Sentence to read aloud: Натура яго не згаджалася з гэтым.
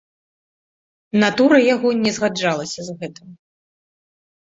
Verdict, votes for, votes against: accepted, 2, 0